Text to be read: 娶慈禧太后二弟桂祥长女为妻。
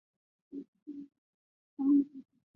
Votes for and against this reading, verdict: 6, 1, accepted